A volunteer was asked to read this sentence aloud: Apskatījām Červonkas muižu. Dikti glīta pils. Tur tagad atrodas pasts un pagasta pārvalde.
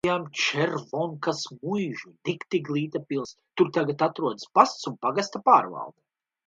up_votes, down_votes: 0, 2